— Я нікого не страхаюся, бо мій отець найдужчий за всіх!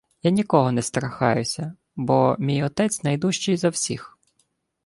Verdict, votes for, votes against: accepted, 2, 0